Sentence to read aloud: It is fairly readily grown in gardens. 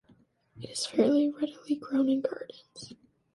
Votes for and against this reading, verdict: 2, 1, accepted